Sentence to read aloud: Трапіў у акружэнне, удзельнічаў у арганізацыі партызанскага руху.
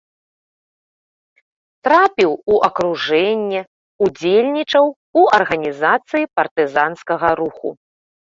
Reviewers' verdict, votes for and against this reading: accepted, 2, 0